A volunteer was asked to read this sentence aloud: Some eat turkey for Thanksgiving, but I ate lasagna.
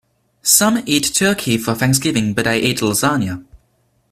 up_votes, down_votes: 2, 0